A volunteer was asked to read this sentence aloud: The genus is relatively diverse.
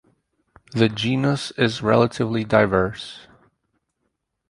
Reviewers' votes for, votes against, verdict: 4, 0, accepted